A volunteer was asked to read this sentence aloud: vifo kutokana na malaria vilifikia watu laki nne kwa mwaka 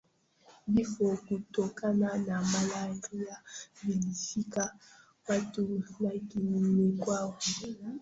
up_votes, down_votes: 0, 2